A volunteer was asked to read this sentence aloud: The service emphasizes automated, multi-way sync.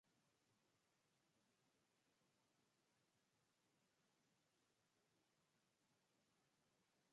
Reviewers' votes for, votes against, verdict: 0, 2, rejected